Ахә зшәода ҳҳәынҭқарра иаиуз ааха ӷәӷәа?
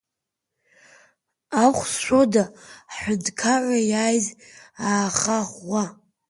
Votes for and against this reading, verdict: 1, 2, rejected